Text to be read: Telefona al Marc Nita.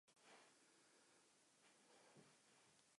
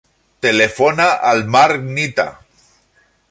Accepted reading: second